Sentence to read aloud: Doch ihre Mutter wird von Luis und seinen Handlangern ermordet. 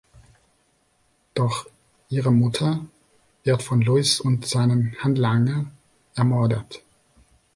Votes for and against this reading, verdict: 2, 0, accepted